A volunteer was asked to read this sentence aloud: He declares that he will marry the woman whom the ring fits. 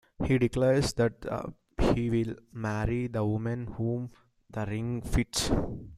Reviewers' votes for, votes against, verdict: 2, 1, accepted